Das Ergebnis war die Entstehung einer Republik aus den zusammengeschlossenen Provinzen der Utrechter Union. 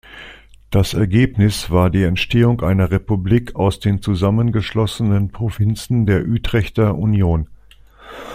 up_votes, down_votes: 2, 1